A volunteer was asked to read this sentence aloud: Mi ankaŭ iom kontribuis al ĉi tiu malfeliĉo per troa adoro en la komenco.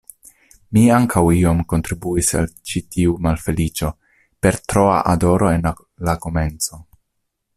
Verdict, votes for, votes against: rejected, 1, 2